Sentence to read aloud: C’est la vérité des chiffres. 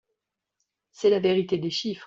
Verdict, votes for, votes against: accepted, 2, 0